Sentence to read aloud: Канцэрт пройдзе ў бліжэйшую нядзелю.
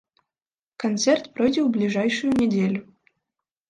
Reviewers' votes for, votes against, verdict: 0, 2, rejected